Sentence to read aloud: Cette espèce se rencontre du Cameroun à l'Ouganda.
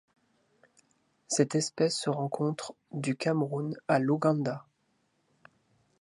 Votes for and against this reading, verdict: 2, 0, accepted